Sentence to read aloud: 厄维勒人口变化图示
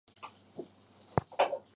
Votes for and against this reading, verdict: 0, 2, rejected